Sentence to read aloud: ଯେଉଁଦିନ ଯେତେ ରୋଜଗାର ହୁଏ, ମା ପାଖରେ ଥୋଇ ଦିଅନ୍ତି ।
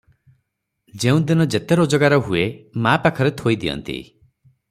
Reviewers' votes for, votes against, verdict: 0, 3, rejected